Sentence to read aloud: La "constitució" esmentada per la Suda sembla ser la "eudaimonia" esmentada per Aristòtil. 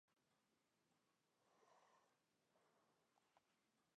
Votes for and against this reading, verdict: 0, 2, rejected